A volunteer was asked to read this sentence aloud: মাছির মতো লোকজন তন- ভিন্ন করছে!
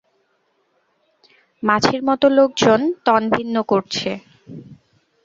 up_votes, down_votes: 2, 0